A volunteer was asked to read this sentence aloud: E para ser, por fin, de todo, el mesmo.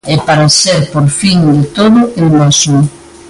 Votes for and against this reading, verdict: 2, 0, accepted